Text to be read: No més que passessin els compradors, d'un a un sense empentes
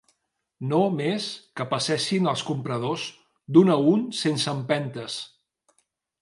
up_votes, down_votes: 3, 0